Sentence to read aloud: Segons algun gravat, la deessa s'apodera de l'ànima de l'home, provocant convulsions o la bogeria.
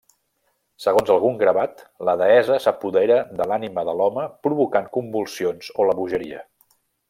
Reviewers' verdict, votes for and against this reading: rejected, 1, 2